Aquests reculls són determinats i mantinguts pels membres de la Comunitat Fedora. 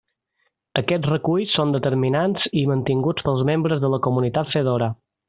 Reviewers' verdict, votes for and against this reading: accepted, 2, 0